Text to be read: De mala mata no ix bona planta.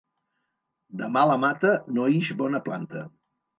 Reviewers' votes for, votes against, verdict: 2, 0, accepted